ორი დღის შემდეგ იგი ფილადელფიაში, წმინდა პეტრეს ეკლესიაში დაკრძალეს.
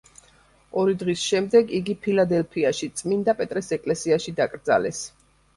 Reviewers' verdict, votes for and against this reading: accepted, 2, 0